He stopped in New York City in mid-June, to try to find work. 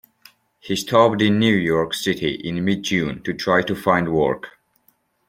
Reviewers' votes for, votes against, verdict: 2, 0, accepted